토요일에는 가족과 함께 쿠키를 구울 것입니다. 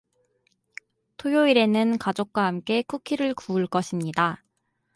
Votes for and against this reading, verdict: 2, 0, accepted